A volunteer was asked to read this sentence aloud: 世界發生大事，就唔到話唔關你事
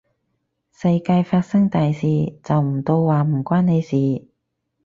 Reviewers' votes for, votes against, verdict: 4, 0, accepted